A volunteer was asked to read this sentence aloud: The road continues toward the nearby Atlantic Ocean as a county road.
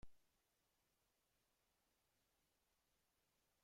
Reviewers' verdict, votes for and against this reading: rejected, 0, 2